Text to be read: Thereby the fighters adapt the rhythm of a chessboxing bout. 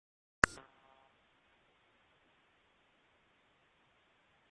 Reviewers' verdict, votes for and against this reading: rejected, 0, 2